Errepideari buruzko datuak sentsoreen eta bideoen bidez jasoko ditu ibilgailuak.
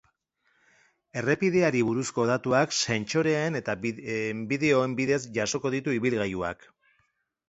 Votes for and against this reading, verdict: 0, 3, rejected